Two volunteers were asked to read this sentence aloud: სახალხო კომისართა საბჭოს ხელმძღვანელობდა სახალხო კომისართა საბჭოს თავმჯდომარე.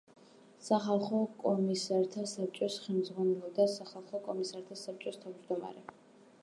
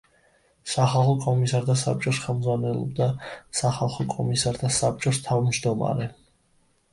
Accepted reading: second